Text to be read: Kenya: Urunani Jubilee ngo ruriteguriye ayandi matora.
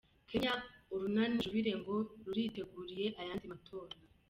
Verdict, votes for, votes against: rejected, 0, 2